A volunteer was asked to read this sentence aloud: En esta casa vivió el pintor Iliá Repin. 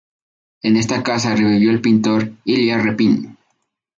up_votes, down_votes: 0, 4